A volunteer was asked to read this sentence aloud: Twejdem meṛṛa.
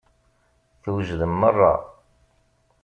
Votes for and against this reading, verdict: 2, 0, accepted